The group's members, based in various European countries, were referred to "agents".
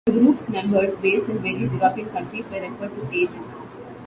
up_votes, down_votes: 0, 2